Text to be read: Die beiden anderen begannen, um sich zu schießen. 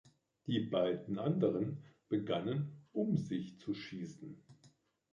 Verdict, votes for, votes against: rejected, 1, 2